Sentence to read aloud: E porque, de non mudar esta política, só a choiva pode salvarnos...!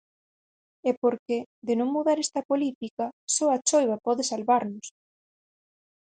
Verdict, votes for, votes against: accepted, 6, 0